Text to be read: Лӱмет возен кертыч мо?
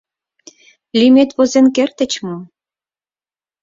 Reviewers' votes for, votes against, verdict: 6, 0, accepted